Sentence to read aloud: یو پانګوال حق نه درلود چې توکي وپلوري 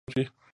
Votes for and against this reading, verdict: 0, 2, rejected